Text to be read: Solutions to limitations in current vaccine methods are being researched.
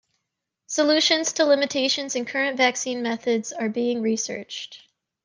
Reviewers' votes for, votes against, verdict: 2, 0, accepted